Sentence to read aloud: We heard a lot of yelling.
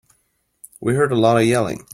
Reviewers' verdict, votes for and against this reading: accepted, 2, 0